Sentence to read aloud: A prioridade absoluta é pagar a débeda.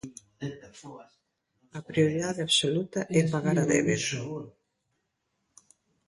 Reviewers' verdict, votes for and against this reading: rejected, 0, 2